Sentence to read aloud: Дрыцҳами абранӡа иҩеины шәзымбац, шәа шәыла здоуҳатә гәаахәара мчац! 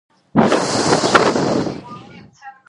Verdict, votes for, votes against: rejected, 0, 2